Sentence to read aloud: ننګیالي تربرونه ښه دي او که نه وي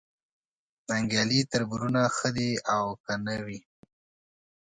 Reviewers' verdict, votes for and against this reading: accepted, 2, 0